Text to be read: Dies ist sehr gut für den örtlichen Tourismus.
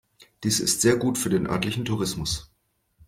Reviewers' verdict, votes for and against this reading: accepted, 2, 0